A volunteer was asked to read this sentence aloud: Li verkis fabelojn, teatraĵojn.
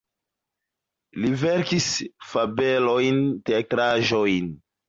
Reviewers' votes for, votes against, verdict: 2, 1, accepted